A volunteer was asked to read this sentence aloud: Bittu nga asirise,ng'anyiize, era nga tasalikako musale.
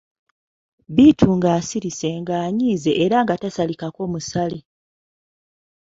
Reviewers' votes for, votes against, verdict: 2, 0, accepted